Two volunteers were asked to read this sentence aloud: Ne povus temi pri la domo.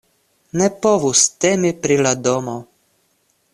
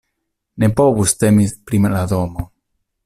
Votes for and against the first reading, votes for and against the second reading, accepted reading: 2, 0, 0, 2, first